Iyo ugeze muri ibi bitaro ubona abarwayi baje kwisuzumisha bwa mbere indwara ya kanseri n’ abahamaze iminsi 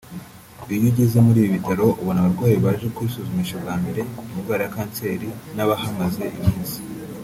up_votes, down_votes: 0, 2